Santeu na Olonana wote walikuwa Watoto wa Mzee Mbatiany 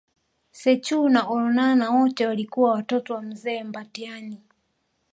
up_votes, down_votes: 0, 2